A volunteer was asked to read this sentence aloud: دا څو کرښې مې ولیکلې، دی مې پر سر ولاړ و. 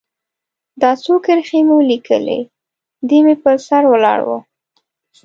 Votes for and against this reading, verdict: 2, 0, accepted